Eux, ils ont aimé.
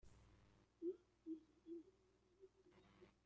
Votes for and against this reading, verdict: 0, 2, rejected